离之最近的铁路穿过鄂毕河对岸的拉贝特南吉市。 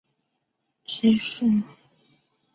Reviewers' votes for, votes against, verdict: 0, 2, rejected